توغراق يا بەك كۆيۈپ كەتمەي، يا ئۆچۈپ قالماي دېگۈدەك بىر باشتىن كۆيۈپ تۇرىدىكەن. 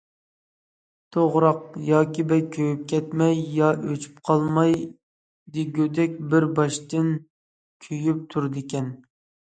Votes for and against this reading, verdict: 1, 2, rejected